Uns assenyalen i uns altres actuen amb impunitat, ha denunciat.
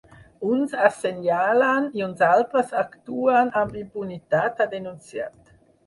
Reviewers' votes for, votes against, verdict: 4, 0, accepted